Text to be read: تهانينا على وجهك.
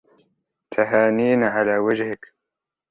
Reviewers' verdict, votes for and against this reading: accepted, 3, 0